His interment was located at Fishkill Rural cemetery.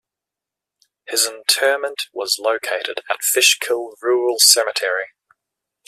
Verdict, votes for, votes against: accepted, 2, 0